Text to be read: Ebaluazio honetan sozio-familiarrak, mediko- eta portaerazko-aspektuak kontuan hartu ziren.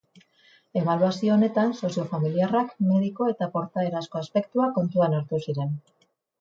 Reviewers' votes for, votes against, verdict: 2, 2, rejected